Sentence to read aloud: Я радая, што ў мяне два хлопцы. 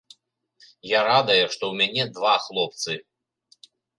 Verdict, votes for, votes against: accepted, 3, 0